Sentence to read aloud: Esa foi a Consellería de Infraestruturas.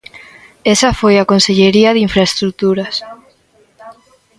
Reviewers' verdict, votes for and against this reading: rejected, 0, 2